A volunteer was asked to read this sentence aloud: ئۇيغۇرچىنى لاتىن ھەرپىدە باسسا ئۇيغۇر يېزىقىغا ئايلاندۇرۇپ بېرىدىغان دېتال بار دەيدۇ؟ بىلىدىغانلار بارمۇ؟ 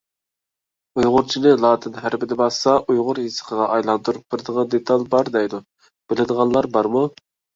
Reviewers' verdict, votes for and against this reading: accepted, 2, 0